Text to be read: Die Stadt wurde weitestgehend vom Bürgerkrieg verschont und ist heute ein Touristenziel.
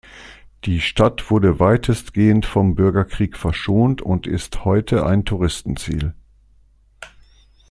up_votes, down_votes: 2, 0